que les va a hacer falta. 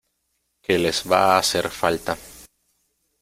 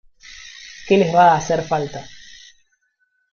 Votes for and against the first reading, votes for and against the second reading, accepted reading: 2, 0, 1, 2, first